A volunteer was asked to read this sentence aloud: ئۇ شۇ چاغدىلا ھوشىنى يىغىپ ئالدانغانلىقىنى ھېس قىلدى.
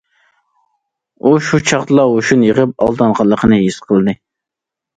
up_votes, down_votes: 2, 0